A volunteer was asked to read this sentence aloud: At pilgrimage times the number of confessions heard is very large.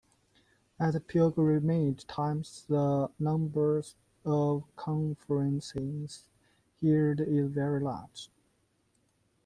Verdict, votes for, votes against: rejected, 1, 2